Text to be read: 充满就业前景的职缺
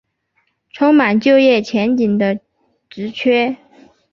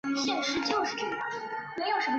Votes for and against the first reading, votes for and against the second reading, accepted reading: 3, 0, 0, 2, first